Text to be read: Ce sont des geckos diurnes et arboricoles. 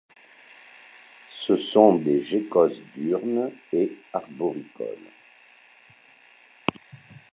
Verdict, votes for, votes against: rejected, 0, 2